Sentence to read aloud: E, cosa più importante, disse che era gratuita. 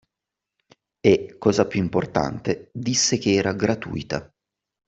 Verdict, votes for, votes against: accepted, 2, 0